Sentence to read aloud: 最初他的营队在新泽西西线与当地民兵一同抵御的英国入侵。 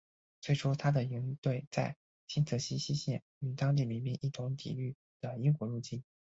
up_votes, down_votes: 3, 0